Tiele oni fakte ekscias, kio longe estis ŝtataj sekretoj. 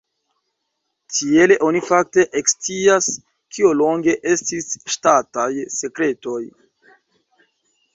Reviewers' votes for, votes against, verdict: 2, 0, accepted